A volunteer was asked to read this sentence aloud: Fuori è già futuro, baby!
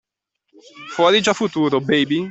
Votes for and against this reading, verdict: 2, 0, accepted